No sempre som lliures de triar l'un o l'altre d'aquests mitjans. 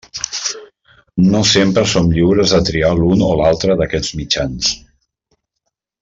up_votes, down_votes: 2, 0